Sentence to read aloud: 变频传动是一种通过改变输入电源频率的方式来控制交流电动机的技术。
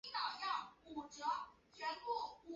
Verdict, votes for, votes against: rejected, 0, 3